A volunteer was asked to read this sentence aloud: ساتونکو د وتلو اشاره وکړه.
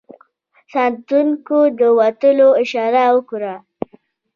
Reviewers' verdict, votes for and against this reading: accepted, 2, 0